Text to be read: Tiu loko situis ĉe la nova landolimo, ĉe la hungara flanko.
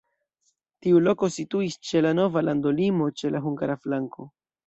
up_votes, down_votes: 2, 0